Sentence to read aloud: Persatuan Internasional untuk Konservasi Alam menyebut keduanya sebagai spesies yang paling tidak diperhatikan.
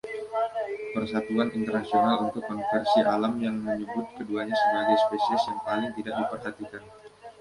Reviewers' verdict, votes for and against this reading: accepted, 2, 1